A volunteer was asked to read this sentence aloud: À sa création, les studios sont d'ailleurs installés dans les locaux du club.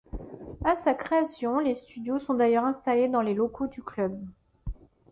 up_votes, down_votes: 2, 0